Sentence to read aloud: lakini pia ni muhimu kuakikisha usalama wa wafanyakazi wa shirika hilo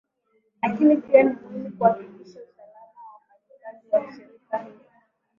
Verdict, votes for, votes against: rejected, 0, 2